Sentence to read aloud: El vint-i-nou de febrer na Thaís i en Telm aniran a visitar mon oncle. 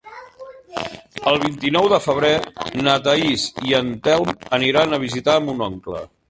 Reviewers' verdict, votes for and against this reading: accepted, 3, 1